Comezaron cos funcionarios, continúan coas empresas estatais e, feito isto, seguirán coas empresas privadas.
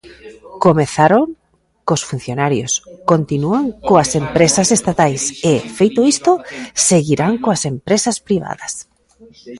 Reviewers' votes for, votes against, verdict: 1, 2, rejected